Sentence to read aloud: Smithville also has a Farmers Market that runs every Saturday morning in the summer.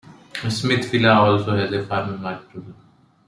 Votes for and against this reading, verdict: 0, 2, rejected